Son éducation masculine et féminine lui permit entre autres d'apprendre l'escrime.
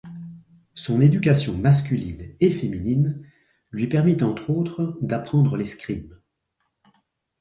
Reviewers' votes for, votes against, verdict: 2, 0, accepted